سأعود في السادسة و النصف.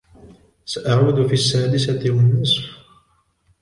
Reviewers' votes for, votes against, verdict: 2, 0, accepted